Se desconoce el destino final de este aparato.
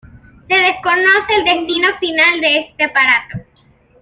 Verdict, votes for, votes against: accepted, 2, 1